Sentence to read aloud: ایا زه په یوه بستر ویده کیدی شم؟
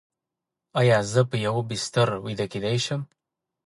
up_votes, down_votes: 2, 0